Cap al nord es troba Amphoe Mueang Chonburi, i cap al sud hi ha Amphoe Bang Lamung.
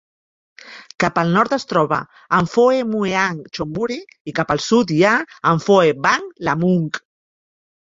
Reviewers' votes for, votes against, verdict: 1, 2, rejected